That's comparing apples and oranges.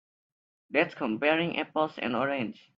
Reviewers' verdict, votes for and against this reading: rejected, 0, 2